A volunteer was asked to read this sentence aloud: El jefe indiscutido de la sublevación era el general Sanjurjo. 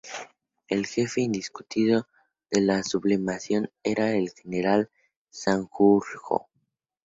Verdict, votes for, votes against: rejected, 0, 2